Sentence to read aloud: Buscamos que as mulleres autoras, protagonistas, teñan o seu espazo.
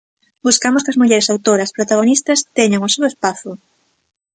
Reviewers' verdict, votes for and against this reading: accepted, 2, 1